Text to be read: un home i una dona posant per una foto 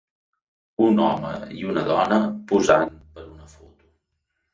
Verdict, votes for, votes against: rejected, 1, 2